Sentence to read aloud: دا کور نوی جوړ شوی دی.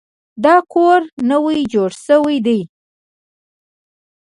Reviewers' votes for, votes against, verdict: 3, 0, accepted